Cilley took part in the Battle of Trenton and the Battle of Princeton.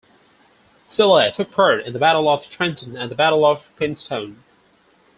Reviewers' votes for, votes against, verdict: 2, 4, rejected